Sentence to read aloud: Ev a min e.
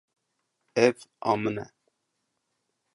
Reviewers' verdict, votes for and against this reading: accepted, 2, 0